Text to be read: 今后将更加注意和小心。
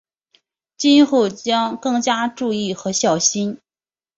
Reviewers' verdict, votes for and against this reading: accepted, 4, 0